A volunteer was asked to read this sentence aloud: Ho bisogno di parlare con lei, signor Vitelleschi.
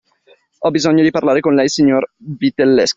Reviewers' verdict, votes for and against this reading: accepted, 2, 0